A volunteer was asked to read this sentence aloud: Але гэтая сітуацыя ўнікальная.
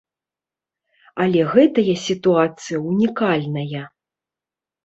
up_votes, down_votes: 1, 2